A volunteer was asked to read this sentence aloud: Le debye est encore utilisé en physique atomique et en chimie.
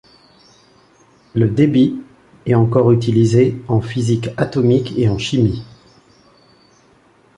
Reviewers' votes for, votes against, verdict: 2, 0, accepted